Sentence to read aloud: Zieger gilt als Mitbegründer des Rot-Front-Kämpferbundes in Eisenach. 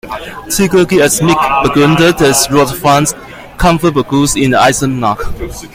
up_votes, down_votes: 0, 2